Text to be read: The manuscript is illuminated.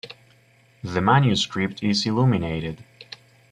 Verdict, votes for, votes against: accepted, 2, 1